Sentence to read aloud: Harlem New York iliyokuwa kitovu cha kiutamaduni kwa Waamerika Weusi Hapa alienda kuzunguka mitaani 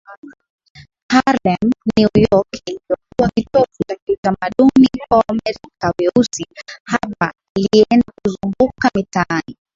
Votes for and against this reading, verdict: 0, 2, rejected